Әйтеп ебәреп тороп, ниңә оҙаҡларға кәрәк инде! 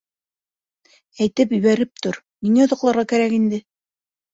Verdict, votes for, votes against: rejected, 0, 2